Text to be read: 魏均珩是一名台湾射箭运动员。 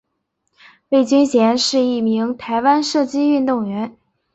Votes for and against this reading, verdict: 2, 1, accepted